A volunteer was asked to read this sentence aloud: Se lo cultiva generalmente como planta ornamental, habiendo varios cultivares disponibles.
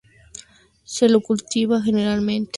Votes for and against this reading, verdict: 2, 4, rejected